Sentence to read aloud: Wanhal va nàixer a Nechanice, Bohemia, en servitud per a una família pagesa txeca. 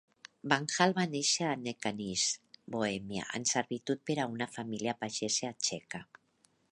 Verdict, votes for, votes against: accepted, 5, 0